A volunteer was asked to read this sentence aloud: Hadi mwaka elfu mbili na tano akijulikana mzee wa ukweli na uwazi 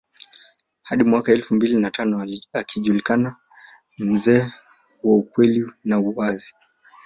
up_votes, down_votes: 1, 2